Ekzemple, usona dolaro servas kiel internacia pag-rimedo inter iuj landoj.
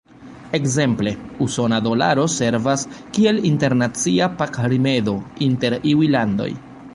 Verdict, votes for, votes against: rejected, 0, 2